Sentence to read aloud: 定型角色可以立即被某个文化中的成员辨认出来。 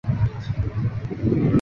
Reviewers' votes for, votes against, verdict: 0, 2, rejected